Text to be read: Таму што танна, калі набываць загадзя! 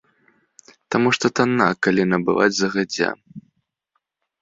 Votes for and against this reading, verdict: 0, 2, rejected